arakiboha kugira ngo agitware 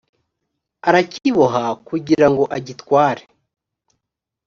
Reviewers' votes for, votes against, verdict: 2, 0, accepted